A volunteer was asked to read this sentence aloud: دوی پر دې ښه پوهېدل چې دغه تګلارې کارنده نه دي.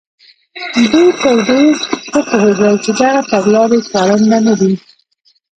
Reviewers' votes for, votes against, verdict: 1, 2, rejected